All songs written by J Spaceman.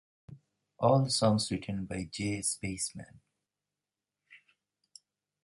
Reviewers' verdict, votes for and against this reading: accepted, 3, 0